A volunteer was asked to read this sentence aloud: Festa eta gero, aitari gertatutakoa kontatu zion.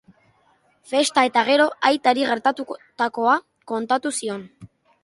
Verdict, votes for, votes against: rejected, 2, 2